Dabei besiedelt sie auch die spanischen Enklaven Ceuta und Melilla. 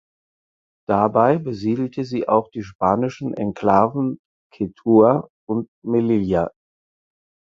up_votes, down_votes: 2, 4